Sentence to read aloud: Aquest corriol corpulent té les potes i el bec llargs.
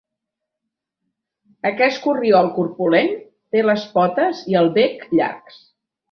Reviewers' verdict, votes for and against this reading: accepted, 3, 0